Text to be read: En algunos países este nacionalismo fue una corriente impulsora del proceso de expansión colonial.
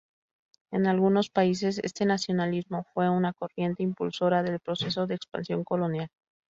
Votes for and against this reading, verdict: 0, 2, rejected